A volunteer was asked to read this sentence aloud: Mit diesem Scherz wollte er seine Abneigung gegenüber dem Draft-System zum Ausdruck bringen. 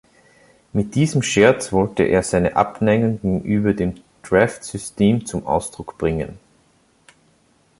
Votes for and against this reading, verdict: 1, 2, rejected